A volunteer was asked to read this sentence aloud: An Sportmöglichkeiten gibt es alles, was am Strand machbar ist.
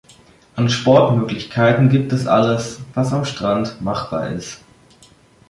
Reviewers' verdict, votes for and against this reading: accepted, 2, 0